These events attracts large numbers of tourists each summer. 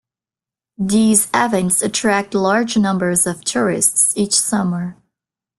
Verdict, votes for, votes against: accepted, 2, 1